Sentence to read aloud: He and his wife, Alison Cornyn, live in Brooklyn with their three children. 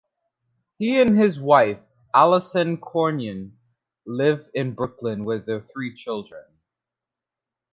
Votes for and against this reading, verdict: 2, 0, accepted